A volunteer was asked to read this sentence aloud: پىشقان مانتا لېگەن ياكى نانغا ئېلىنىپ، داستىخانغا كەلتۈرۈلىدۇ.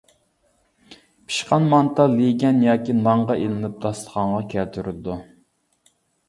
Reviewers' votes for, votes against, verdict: 0, 2, rejected